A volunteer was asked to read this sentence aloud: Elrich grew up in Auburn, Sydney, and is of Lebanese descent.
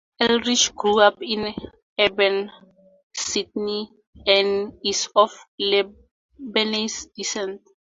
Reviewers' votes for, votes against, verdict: 2, 2, rejected